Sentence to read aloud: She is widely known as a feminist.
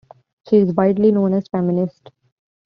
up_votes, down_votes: 2, 0